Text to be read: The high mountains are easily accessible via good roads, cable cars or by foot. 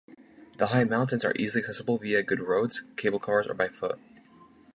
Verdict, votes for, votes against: accepted, 2, 0